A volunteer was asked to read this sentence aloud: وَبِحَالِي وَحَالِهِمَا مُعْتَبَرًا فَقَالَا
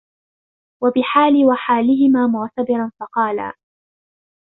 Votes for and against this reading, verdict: 0, 2, rejected